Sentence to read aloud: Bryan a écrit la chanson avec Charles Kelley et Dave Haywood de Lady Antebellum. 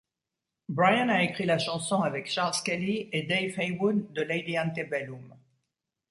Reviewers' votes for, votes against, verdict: 1, 2, rejected